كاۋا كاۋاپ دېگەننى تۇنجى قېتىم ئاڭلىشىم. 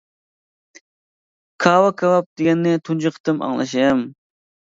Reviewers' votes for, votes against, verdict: 2, 0, accepted